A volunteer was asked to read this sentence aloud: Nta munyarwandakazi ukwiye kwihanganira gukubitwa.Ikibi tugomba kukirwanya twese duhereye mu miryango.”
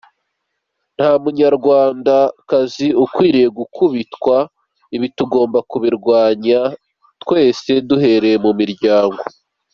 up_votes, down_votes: 1, 2